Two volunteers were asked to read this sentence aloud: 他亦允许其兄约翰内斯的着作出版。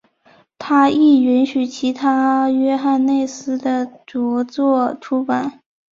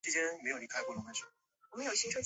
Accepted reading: first